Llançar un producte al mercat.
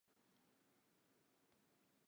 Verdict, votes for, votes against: rejected, 0, 4